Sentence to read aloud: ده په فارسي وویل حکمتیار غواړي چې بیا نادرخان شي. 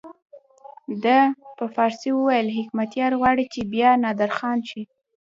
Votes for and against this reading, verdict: 0, 2, rejected